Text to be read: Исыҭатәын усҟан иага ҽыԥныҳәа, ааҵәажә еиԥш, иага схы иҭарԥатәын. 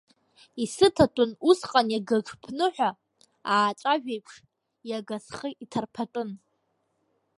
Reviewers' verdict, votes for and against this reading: rejected, 1, 2